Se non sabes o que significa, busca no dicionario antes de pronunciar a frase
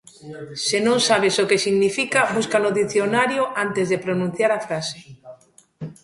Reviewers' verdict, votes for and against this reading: rejected, 0, 2